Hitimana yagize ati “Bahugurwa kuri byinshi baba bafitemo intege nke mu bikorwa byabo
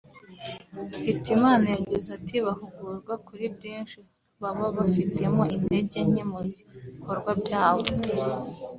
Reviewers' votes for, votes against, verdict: 2, 1, accepted